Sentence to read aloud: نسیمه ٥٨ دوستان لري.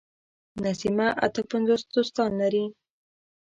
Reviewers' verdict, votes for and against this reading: rejected, 0, 2